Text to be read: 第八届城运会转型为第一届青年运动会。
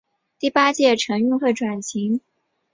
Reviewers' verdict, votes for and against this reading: accepted, 2, 1